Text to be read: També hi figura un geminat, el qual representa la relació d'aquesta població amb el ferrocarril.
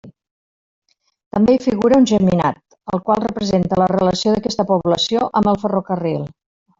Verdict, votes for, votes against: rejected, 1, 2